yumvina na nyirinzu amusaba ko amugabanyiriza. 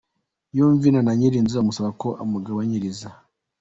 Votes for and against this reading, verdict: 2, 1, accepted